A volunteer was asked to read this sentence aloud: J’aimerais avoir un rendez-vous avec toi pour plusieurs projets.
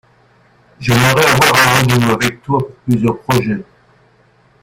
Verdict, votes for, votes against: rejected, 1, 2